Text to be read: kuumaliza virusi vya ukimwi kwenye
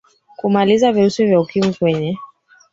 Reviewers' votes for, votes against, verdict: 2, 3, rejected